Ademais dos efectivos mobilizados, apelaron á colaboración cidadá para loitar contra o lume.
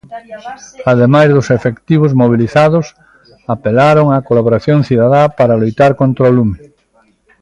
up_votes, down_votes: 1, 2